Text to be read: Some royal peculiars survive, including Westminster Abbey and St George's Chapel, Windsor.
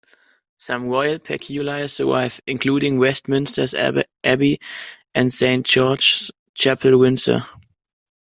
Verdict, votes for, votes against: rejected, 0, 2